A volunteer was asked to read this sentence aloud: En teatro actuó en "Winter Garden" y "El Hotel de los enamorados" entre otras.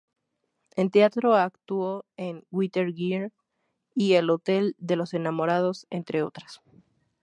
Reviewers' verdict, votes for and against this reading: rejected, 0, 2